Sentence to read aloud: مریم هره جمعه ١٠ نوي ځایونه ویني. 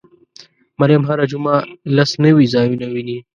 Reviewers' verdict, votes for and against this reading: rejected, 0, 2